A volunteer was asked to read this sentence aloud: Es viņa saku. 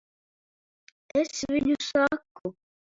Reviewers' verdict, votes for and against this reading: rejected, 1, 2